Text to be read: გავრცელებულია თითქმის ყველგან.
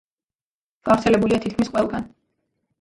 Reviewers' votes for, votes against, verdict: 2, 0, accepted